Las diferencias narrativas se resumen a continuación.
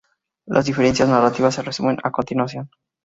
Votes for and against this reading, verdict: 0, 2, rejected